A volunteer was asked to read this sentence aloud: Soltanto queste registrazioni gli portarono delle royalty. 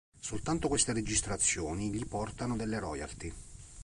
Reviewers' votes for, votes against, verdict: 1, 2, rejected